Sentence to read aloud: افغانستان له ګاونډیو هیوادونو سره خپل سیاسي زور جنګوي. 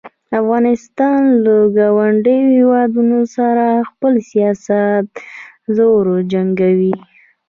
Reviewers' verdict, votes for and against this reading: rejected, 1, 2